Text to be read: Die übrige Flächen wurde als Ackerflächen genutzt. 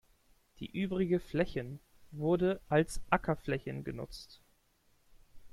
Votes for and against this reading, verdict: 1, 2, rejected